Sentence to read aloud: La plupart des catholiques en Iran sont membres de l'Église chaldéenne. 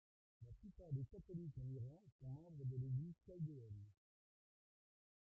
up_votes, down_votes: 1, 2